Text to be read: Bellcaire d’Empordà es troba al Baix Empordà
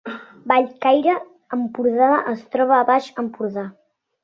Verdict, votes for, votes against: rejected, 1, 3